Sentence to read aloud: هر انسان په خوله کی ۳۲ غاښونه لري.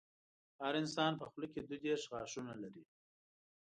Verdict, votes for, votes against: rejected, 0, 2